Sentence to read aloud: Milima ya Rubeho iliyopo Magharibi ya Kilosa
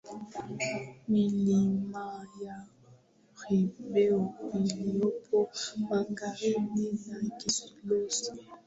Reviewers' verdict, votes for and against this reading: rejected, 0, 2